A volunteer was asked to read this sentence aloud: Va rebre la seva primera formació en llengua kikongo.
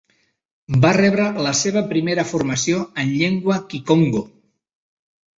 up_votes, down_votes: 2, 0